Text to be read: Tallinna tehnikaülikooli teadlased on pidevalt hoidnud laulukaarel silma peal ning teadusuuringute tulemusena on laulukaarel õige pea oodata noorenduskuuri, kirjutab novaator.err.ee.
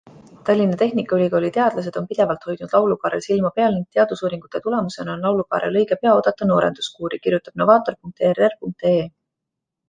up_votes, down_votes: 2, 1